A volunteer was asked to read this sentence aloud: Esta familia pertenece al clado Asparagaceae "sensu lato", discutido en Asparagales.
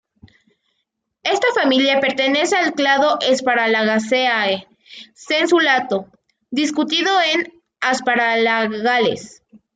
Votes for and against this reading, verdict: 1, 2, rejected